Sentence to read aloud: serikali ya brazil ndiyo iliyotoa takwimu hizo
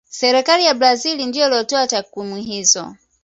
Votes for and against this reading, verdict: 2, 0, accepted